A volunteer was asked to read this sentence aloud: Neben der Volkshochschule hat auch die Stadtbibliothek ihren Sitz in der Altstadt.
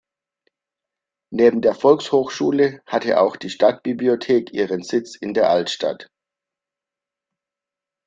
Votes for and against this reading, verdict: 1, 2, rejected